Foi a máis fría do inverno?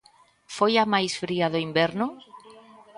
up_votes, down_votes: 1, 2